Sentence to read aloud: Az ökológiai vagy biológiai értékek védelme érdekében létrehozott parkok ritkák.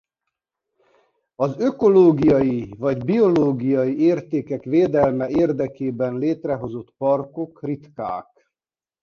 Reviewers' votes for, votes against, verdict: 2, 0, accepted